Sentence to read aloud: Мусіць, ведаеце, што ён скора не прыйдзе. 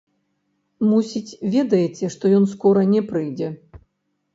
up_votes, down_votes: 1, 2